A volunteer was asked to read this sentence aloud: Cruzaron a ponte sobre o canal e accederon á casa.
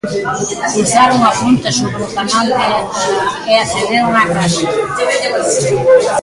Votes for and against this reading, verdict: 1, 2, rejected